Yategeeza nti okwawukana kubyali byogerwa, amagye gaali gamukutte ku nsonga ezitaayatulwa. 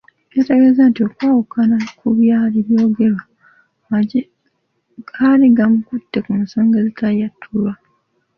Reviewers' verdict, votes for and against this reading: rejected, 1, 2